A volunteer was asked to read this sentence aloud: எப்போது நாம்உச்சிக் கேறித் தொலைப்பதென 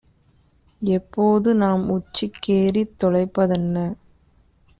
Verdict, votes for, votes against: accepted, 2, 1